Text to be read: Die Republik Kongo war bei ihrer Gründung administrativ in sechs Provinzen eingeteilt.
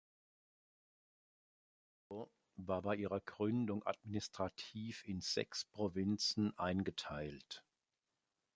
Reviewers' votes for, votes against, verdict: 0, 2, rejected